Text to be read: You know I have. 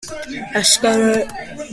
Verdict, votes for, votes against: rejected, 1, 2